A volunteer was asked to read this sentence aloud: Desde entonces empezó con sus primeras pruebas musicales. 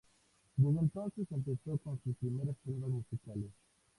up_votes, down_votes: 0, 2